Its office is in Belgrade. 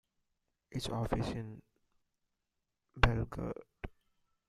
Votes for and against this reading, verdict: 1, 2, rejected